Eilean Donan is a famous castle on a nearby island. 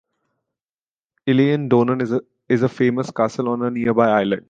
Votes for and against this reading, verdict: 1, 2, rejected